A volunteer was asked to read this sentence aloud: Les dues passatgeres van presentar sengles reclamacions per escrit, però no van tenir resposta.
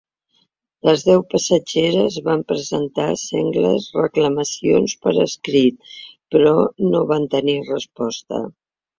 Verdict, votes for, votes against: rejected, 1, 3